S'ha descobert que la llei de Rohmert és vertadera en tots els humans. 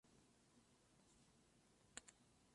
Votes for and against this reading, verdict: 0, 2, rejected